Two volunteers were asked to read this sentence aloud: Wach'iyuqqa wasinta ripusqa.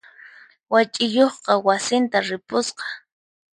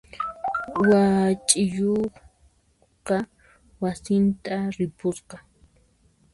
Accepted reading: first